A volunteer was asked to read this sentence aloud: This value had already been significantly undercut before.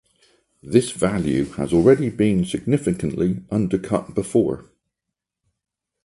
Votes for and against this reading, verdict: 0, 4, rejected